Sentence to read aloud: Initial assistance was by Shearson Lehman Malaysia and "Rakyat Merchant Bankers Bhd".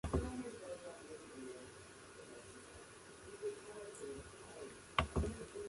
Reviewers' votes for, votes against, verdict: 0, 2, rejected